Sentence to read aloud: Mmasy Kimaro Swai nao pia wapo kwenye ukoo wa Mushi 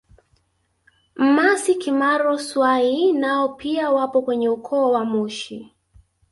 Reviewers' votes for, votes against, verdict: 0, 2, rejected